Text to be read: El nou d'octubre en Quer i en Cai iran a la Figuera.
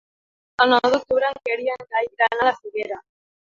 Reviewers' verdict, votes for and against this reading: rejected, 1, 3